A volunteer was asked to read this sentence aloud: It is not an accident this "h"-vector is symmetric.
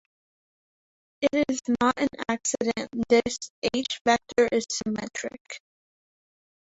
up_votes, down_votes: 0, 2